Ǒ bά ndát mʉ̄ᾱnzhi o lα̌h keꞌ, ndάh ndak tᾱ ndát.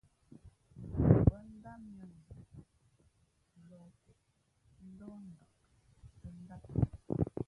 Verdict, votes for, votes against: rejected, 0, 2